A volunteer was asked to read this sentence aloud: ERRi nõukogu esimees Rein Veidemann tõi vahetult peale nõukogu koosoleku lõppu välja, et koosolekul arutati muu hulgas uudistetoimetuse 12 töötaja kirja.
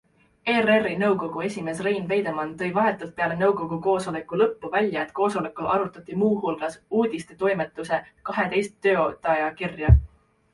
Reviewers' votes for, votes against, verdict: 0, 2, rejected